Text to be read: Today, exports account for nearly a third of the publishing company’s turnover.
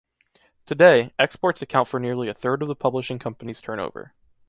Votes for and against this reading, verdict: 2, 0, accepted